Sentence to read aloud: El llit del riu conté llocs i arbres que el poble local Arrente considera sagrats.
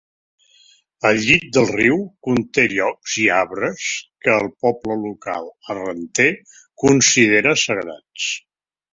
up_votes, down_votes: 1, 2